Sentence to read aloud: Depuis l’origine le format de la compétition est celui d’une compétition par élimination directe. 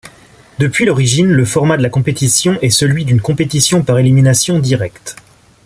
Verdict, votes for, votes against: accepted, 2, 1